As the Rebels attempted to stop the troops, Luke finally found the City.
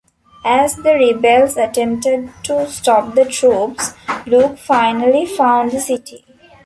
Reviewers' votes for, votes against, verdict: 1, 2, rejected